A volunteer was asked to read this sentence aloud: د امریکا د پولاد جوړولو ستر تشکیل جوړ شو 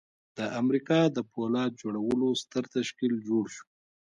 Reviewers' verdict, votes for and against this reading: rejected, 1, 2